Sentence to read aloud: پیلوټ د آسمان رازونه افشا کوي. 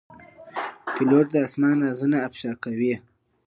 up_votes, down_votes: 2, 1